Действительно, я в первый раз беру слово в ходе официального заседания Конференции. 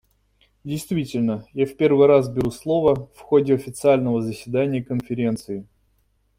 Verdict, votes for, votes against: accepted, 2, 0